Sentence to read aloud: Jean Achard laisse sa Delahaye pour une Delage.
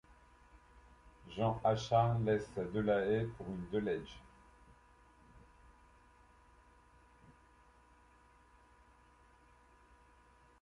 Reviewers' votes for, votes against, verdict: 1, 2, rejected